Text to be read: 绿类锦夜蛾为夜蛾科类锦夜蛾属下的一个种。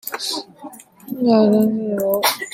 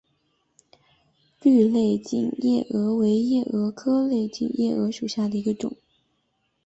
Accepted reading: second